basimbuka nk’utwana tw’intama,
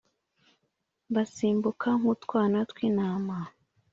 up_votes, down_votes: 2, 0